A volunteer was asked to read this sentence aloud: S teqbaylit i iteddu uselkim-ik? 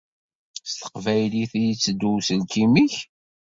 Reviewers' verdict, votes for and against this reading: accepted, 2, 0